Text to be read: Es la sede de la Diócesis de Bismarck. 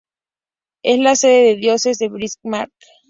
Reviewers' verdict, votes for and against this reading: rejected, 0, 2